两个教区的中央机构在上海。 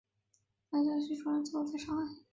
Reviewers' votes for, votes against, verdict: 0, 2, rejected